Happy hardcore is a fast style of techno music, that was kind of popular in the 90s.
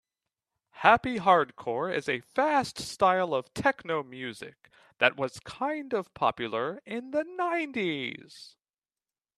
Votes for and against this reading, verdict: 0, 2, rejected